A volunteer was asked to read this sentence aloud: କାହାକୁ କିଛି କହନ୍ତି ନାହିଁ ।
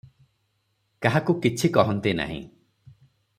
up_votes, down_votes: 3, 0